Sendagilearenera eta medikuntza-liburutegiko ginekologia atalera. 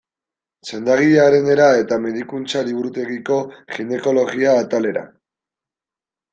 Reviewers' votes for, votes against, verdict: 2, 0, accepted